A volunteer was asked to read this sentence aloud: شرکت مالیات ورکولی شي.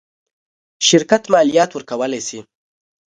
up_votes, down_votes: 1, 2